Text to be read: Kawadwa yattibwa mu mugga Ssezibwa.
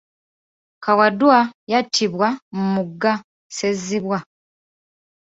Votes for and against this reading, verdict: 1, 2, rejected